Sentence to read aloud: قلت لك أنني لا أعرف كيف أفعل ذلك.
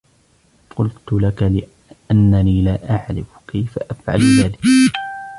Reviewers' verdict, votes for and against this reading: rejected, 0, 2